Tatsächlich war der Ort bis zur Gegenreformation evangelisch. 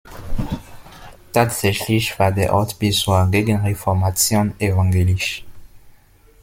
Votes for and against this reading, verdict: 1, 2, rejected